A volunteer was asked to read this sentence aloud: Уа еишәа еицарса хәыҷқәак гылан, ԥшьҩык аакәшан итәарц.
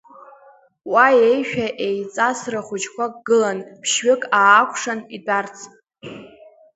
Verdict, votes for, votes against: rejected, 0, 2